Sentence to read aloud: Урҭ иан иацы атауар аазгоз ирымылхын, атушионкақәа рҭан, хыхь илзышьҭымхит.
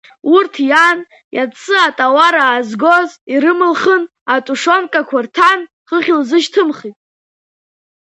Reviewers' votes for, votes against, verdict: 2, 0, accepted